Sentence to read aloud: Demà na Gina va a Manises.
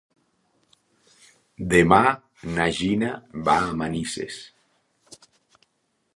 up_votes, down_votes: 3, 0